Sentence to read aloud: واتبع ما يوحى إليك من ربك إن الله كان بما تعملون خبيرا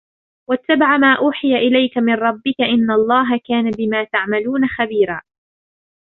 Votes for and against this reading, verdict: 2, 1, accepted